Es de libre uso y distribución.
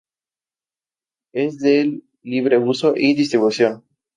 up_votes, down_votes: 2, 0